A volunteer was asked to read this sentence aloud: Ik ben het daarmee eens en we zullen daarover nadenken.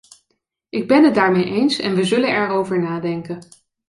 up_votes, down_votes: 2, 1